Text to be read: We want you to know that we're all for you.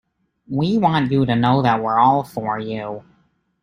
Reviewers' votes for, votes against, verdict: 1, 2, rejected